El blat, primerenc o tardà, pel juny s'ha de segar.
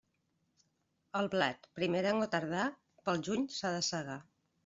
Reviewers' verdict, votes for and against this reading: accepted, 2, 0